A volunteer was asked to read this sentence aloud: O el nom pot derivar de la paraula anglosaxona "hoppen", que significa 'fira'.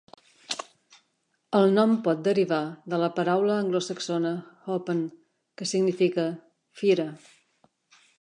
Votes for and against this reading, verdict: 1, 2, rejected